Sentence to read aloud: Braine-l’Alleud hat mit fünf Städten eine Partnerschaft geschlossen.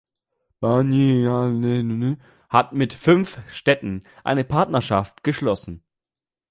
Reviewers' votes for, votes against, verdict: 0, 2, rejected